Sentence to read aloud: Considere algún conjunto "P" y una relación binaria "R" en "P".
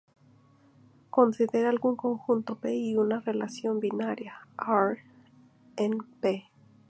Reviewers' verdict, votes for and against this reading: rejected, 0, 2